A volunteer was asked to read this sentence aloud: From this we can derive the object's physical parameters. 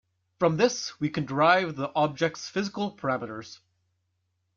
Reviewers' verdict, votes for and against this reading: accepted, 2, 0